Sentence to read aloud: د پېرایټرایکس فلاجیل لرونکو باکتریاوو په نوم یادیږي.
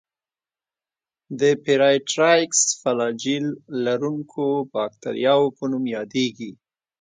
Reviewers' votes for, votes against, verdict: 2, 0, accepted